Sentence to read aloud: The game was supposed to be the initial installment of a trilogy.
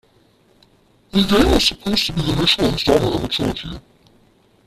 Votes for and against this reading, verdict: 0, 2, rejected